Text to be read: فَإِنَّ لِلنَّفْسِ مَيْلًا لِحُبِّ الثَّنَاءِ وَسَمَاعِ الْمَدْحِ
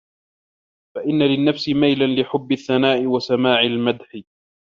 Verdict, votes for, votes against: rejected, 0, 2